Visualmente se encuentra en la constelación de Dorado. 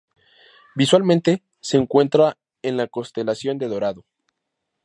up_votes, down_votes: 2, 0